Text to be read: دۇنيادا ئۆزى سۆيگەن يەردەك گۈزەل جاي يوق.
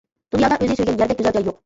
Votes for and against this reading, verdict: 0, 3, rejected